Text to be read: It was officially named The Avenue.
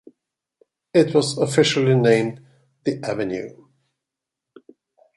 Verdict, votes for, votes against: accepted, 2, 0